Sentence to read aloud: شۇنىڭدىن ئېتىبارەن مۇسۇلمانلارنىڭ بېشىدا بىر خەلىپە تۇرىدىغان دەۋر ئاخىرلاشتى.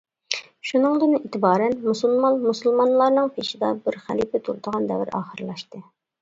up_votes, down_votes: 0, 2